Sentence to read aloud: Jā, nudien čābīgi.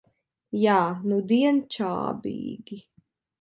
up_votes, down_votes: 2, 1